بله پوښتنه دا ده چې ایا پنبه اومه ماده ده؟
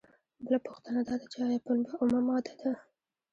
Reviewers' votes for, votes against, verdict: 1, 2, rejected